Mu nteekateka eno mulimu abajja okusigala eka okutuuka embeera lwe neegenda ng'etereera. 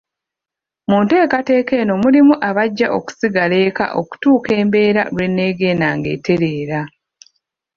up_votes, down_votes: 2, 1